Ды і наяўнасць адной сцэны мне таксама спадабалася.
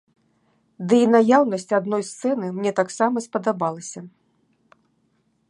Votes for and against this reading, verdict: 2, 0, accepted